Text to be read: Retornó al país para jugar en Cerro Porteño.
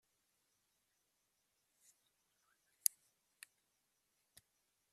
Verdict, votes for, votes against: rejected, 0, 2